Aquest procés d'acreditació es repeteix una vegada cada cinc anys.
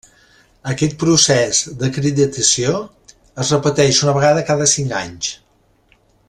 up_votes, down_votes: 1, 2